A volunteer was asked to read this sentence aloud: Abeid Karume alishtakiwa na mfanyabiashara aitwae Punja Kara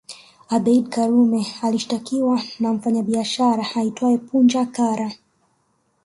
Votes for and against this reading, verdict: 1, 2, rejected